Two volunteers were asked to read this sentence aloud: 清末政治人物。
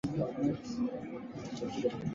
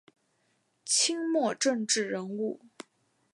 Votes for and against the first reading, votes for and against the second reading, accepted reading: 2, 3, 5, 0, second